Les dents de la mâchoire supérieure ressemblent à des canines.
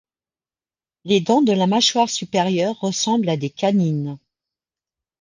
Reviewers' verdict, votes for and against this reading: accepted, 2, 0